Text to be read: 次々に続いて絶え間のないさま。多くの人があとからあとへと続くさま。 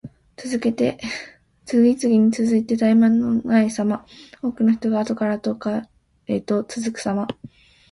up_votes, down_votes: 0, 2